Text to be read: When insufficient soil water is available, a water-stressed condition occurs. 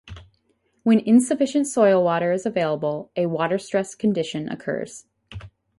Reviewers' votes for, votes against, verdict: 2, 0, accepted